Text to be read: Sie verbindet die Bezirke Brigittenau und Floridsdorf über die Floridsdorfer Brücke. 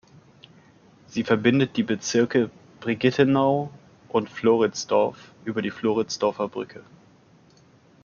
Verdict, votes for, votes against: accepted, 2, 0